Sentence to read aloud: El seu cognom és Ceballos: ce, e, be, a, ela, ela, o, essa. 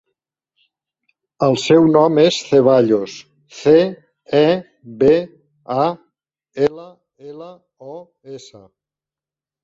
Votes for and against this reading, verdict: 0, 2, rejected